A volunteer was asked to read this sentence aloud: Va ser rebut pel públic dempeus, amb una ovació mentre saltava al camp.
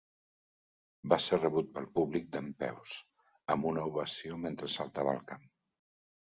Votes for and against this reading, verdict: 2, 0, accepted